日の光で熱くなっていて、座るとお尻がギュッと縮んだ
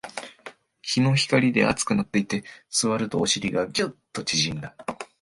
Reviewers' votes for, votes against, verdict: 2, 0, accepted